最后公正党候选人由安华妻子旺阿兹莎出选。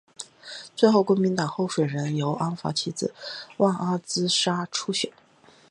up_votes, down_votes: 3, 0